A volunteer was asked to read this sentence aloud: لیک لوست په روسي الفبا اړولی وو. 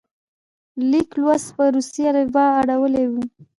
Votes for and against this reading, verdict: 0, 2, rejected